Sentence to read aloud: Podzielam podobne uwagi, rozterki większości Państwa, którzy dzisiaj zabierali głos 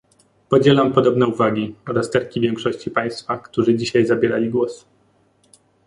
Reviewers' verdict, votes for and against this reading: accepted, 2, 0